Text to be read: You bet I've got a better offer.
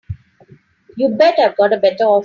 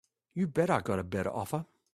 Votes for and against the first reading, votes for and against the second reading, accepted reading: 2, 3, 2, 0, second